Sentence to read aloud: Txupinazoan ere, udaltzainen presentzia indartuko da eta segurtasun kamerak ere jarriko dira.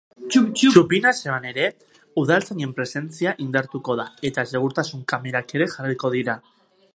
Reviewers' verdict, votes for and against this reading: rejected, 0, 2